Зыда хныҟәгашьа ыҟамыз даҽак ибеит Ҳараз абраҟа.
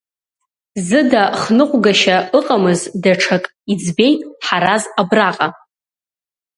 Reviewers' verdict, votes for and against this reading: rejected, 1, 2